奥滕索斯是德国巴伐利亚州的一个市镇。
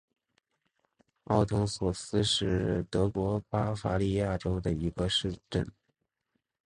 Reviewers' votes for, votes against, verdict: 4, 0, accepted